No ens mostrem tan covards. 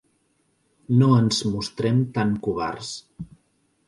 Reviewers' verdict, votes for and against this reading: accepted, 3, 0